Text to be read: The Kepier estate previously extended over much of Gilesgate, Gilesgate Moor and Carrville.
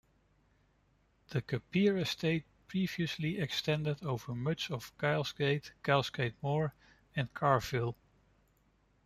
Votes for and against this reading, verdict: 1, 2, rejected